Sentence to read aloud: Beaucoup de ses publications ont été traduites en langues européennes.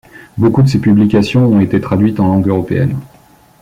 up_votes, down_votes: 2, 0